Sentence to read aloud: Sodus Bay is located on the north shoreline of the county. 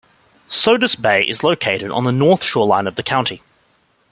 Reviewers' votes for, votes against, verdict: 2, 0, accepted